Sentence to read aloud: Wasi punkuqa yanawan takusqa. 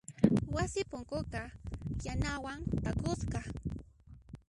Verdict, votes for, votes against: rejected, 1, 2